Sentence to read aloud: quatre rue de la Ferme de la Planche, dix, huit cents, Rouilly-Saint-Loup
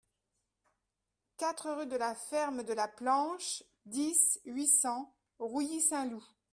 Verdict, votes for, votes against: accepted, 2, 0